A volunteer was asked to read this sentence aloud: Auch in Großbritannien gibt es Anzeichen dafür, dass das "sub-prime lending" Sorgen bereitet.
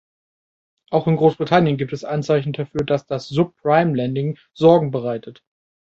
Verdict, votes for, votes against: rejected, 1, 2